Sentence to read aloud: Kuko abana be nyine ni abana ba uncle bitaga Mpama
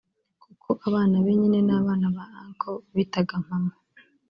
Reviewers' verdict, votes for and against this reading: rejected, 0, 2